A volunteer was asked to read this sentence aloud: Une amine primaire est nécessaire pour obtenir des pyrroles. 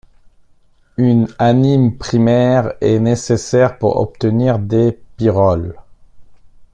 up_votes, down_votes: 1, 2